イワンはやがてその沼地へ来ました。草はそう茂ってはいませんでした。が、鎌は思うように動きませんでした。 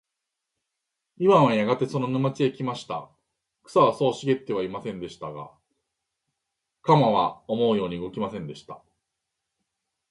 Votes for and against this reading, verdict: 2, 0, accepted